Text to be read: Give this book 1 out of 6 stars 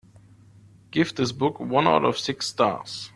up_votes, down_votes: 0, 2